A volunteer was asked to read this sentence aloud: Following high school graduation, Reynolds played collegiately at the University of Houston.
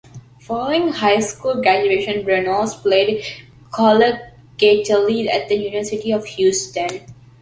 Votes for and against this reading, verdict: 2, 1, accepted